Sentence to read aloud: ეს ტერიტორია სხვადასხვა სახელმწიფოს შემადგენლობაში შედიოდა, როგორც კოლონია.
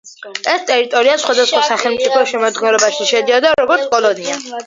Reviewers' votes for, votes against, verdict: 1, 2, rejected